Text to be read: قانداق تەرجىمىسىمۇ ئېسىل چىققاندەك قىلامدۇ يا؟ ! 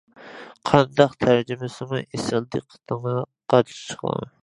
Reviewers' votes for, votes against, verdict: 0, 2, rejected